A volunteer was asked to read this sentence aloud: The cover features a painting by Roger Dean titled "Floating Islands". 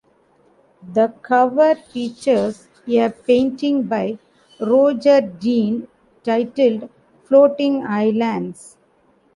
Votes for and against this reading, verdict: 2, 0, accepted